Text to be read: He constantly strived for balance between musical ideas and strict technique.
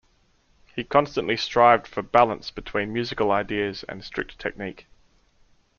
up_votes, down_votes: 2, 0